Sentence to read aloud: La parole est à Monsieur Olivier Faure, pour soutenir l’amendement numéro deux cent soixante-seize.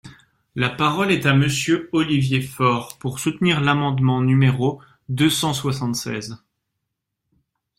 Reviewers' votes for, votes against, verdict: 2, 0, accepted